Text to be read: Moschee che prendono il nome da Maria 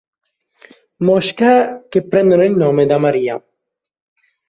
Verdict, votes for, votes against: rejected, 0, 2